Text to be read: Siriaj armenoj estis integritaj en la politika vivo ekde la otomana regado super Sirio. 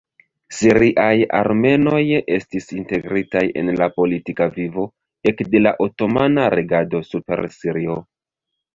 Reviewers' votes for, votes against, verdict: 0, 2, rejected